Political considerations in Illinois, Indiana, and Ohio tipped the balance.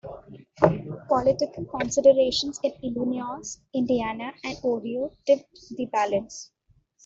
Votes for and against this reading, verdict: 2, 1, accepted